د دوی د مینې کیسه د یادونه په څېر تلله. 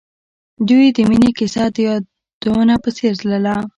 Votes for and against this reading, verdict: 0, 2, rejected